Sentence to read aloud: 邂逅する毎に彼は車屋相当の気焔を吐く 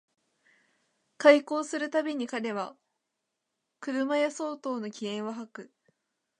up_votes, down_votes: 2, 0